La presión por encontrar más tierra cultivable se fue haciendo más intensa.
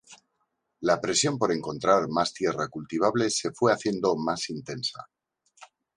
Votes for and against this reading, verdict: 2, 0, accepted